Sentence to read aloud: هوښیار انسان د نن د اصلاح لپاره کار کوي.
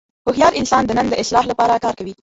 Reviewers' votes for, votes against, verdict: 0, 2, rejected